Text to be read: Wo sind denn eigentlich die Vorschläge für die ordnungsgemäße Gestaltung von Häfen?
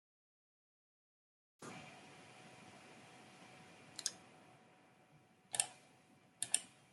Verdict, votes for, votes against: rejected, 0, 2